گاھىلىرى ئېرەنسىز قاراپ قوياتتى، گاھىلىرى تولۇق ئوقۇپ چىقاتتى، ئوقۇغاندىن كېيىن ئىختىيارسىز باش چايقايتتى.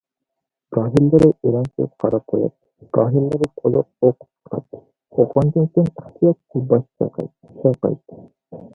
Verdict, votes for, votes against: rejected, 0, 2